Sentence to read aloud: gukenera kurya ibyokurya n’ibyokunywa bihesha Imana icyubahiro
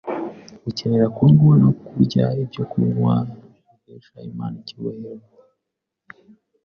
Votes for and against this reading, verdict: 2, 0, accepted